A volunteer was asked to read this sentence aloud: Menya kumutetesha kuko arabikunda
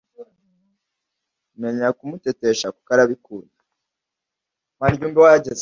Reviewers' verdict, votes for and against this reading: rejected, 1, 2